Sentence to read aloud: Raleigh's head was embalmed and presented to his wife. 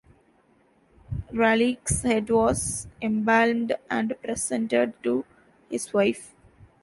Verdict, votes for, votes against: rejected, 1, 2